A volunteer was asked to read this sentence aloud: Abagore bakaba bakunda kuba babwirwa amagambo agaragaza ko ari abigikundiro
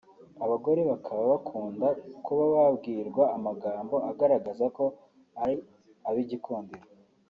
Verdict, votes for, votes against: accepted, 3, 0